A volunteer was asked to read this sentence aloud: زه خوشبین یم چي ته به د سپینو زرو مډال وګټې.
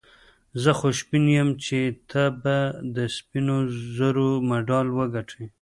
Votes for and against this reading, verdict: 0, 2, rejected